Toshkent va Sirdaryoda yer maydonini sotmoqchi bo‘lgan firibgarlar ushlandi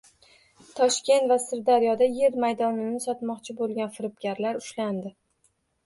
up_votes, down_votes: 2, 0